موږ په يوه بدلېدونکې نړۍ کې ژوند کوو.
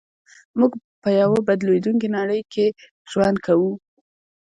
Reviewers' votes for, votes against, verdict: 2, 0, accepted